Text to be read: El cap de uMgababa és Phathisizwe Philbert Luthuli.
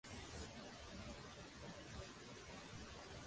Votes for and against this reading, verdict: 0, 2, rejected